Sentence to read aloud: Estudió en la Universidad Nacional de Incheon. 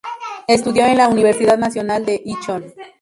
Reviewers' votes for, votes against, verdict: 0, 2, rejected